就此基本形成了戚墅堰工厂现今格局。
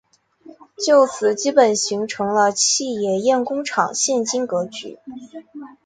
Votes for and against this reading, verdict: 1, 2, rejected